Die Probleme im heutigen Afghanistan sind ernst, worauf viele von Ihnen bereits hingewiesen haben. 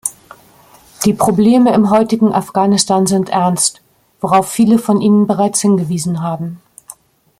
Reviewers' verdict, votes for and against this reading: accepted, 2, 0